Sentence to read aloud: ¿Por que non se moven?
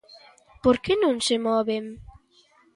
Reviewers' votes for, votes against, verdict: 2, 0, accepted